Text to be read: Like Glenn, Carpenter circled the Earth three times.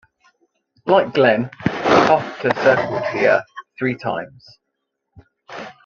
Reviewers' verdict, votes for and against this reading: rejected, 1, 2